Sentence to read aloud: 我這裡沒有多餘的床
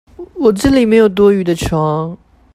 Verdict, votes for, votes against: rejected, 1, 2